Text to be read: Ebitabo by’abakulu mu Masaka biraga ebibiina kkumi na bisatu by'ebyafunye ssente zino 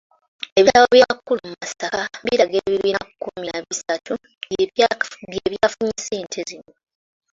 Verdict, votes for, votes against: rejected, 0, 2